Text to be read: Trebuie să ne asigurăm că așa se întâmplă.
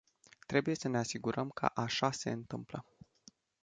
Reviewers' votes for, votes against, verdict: 2, 0, accepted